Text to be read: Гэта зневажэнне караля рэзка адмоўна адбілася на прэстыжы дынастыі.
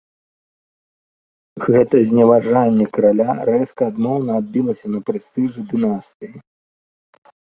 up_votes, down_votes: 0, 2